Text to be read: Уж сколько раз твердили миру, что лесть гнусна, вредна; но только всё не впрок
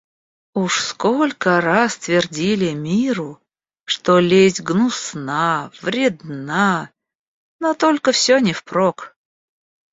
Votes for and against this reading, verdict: 2, 0, accepted